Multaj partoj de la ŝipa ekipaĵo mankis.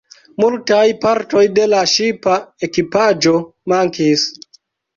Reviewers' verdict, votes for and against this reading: rejected, 1, 2